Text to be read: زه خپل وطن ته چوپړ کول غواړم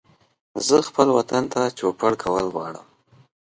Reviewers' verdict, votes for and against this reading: accepted, 2, 0